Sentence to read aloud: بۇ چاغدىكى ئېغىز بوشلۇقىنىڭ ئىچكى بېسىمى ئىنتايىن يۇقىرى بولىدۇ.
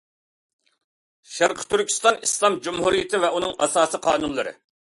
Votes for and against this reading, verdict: 0, 2, rejected